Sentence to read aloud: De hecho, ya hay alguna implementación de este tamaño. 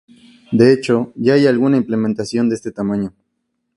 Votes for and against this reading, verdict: 4, 0, accepted